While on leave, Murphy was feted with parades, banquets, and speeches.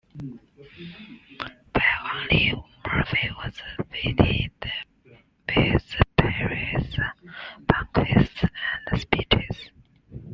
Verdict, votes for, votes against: rejected, 0, 2